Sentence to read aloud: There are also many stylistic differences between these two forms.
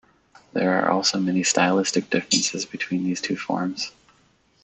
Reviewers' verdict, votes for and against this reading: rejected, 0, 2